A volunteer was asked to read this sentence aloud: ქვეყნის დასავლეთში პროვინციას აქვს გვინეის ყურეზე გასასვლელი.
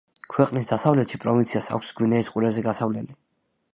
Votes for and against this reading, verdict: 2, 1, accepted